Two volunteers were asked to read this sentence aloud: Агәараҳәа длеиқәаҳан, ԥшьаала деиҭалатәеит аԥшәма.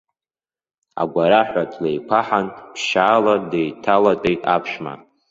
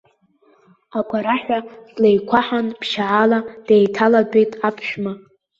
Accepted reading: second